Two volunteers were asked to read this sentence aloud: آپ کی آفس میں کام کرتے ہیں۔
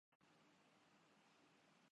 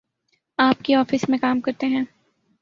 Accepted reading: second